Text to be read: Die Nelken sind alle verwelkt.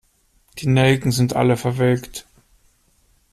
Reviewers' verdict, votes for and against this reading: accepted, 2, 0